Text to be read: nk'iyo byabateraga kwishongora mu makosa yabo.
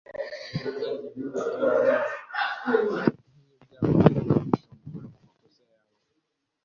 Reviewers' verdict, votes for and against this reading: rejected, 0, 2